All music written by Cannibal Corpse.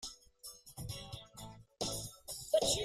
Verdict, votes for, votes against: rejected, 0, 2